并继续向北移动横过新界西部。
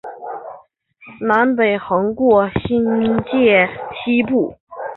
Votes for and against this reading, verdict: 0, 2, rejected